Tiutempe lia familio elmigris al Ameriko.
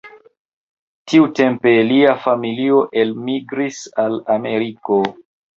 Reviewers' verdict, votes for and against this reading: rejected, 1, 2